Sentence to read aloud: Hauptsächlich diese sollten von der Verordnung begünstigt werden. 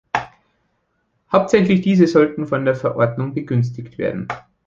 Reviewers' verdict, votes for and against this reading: accepted, 2, 0